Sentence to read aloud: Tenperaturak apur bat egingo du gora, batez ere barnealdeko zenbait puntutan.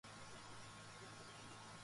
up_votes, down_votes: 0, 2